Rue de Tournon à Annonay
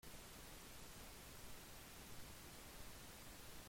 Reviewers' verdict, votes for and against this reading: rejected, 0, 2